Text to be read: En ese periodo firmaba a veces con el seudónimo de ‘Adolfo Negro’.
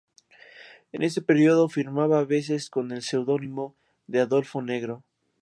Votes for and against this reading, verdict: 2, 0, accepted